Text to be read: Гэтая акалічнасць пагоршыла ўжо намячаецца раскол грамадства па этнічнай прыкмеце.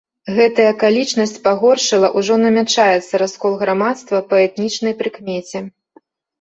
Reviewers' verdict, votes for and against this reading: accepted, 2, 0